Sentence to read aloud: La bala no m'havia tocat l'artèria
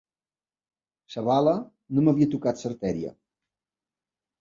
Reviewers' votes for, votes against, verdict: 1, 2, rejected